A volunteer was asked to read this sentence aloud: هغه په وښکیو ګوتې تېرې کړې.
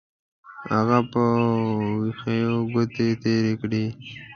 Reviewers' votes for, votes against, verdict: 1, 2, rejected